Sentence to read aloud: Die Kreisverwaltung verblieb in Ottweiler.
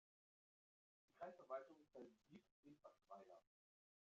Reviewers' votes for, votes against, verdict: 1, 2, rejected